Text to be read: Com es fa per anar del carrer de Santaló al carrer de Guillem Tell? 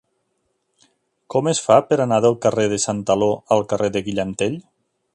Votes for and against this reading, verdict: 2, 0, accepted